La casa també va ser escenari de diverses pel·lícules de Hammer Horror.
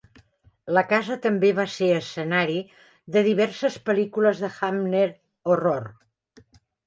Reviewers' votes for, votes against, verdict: 1, 2, rejected